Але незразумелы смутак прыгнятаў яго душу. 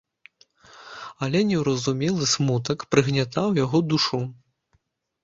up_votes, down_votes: 0, 3